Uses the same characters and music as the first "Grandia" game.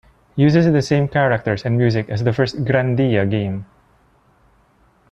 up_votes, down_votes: 1, 2